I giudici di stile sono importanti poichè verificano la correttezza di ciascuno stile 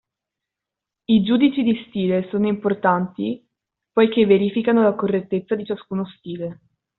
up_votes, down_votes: 2, 0